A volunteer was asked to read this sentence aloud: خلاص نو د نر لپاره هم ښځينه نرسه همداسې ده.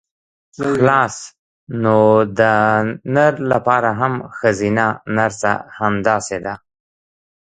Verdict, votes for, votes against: accepted, 2, 0